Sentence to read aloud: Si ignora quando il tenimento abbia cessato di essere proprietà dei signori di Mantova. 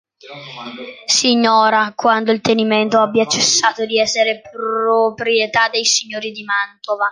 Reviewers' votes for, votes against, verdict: 1, 2, rejected